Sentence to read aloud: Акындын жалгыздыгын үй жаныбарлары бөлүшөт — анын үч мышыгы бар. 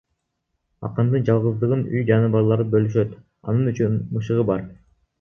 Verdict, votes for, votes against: rejected, 1, 2